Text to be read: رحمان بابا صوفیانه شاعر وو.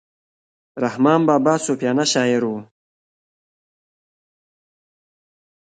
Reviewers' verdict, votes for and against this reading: rejected, 1, 2